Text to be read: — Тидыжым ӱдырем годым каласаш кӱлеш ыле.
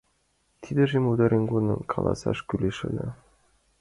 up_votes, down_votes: 1, 2